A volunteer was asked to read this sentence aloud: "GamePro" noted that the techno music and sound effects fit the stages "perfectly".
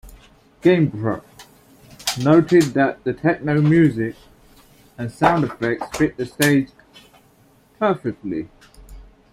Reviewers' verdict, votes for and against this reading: rejected, 1, 2